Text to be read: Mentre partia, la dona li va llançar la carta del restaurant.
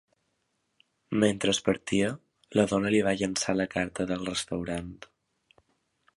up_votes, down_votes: 0, 3